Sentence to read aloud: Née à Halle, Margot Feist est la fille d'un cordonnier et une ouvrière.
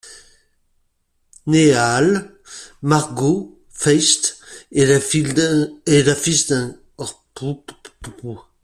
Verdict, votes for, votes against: rejected, 0, 2